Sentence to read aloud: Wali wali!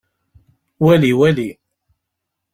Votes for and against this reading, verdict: 2, 0, accepted